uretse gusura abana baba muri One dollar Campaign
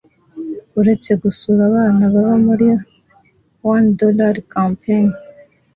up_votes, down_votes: 2, 0